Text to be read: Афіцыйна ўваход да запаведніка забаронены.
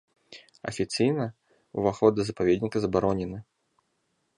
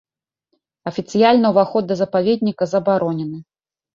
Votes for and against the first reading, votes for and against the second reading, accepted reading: 2, 0, 1, 2, first